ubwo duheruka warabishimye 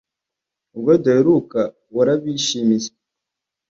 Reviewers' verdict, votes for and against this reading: rejected, 1, 2